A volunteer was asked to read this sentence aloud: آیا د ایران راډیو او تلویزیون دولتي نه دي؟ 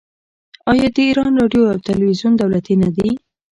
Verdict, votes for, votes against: accepted, 2, 1